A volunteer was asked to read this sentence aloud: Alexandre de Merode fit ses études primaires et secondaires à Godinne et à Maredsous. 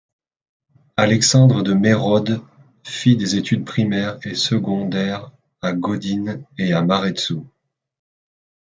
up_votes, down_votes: 0, 2